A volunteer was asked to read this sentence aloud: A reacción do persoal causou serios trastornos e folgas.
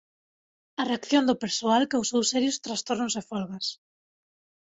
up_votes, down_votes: 2, 0